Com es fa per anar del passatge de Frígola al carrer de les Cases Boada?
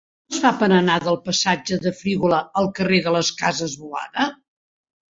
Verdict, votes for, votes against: rejected, 1, 2